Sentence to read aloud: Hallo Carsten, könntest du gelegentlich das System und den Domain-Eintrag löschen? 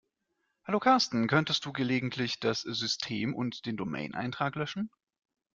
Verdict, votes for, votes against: accepted, 2, 0